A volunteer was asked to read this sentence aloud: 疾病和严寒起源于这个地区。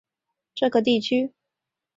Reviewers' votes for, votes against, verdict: 0, 2, rejected